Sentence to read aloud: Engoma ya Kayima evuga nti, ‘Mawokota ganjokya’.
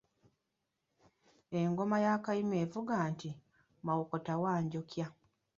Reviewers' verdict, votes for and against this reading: rejected, 0, 2